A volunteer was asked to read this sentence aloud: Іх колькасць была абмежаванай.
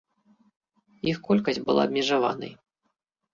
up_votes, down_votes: 2, 0